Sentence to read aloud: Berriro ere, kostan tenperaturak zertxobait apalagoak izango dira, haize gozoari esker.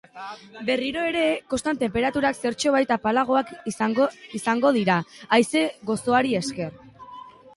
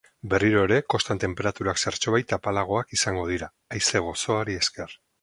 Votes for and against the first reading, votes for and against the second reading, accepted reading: 1, 2, 2, 0, second